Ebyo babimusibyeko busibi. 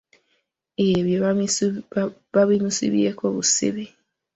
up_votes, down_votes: 0, 2